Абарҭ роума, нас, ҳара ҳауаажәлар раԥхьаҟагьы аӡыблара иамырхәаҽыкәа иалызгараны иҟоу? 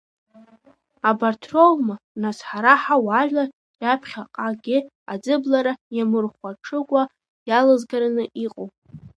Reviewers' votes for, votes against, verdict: 1, 2, rejected